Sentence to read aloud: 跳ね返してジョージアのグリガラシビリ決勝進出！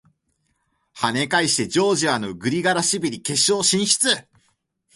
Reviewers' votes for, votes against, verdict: 41, 2, accepted